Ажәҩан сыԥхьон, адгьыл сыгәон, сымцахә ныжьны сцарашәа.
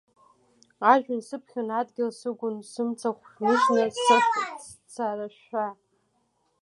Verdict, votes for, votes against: rejected, 0, 2